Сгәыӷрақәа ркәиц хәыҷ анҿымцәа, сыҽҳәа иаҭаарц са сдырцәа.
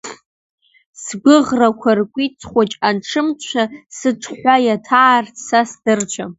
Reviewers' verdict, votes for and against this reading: accepted, 2, 0